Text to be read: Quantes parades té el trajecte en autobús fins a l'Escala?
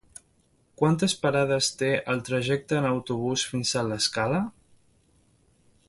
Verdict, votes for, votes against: accepted, 2, 0